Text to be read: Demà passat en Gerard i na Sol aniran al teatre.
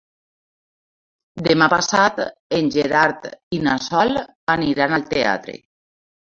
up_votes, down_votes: 2, 0